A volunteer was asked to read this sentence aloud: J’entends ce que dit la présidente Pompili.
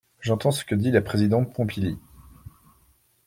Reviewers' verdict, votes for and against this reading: accepted, 2, 0